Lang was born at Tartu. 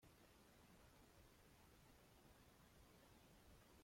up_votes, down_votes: 0, 2